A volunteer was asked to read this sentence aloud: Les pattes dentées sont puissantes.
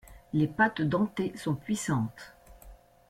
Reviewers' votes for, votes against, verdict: 2, 0, accepted